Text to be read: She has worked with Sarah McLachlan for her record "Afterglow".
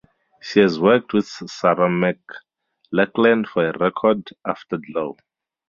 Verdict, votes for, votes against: rejected, 0, 10